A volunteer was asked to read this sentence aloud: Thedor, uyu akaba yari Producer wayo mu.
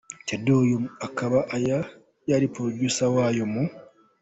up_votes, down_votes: 2, 1